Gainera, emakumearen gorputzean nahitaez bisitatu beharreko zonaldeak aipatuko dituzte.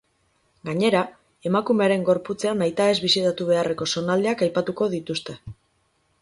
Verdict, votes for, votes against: accepted, 2, 0